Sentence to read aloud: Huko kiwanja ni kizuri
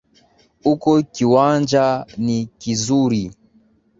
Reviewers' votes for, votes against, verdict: 15, 0, accepted